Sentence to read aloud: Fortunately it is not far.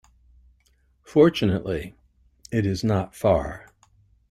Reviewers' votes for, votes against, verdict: 2, 0, accepted